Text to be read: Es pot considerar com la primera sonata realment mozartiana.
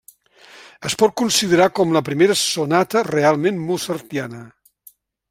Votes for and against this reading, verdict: 2, 0, accepted